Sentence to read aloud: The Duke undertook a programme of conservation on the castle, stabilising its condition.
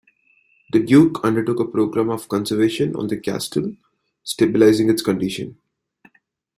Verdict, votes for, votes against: accepted, 2, 1